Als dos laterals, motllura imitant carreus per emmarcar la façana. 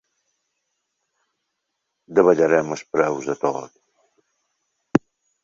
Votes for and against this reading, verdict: 0, 2, rejected